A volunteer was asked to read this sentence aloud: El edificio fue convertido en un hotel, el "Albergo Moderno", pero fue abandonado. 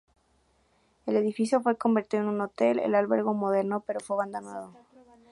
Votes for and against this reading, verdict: 2, 0, accepted